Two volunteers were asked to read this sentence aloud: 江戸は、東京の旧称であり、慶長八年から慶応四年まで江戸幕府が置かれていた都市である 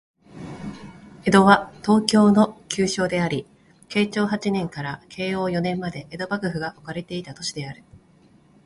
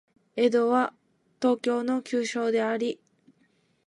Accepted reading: first